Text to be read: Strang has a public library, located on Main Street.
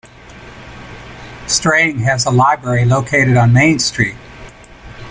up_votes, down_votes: 0, 2